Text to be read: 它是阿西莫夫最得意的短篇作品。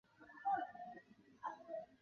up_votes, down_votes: 0, 3